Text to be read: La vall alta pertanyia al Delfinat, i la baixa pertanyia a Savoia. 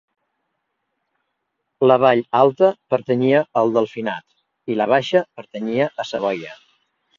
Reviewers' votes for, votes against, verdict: 2, 0, accepted